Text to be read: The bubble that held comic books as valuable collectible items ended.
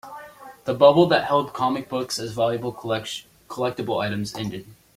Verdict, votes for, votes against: rejected, 0, 2